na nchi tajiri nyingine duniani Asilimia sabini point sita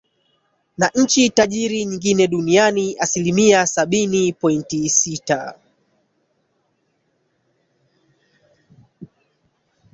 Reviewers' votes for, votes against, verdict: 1, 2, rejected